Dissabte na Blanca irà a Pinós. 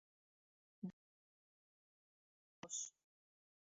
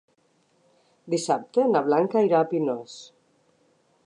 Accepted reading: second